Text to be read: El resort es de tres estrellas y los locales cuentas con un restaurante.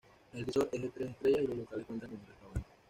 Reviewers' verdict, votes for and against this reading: rejected, 1, 2